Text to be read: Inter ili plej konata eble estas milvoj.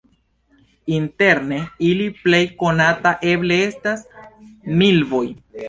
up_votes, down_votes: 2, 1